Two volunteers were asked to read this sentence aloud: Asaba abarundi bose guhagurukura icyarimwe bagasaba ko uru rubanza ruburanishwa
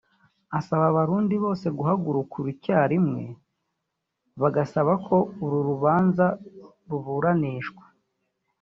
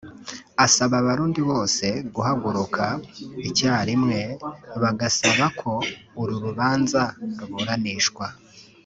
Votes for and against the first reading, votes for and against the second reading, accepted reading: 2, 0, 1, 2, first